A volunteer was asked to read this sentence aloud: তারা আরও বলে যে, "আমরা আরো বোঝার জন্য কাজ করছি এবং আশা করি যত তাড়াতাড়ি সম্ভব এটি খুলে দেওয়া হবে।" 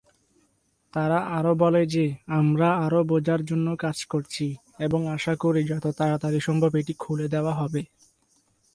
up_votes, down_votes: 2, 0